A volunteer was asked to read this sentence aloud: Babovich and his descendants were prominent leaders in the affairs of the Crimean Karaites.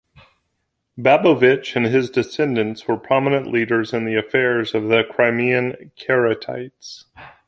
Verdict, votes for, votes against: rejected, 1, 2